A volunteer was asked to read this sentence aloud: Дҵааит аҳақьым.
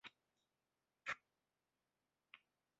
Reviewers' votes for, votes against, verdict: 1, 2, rejected